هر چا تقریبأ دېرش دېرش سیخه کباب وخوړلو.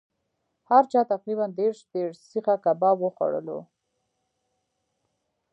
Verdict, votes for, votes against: accepted, 2, 0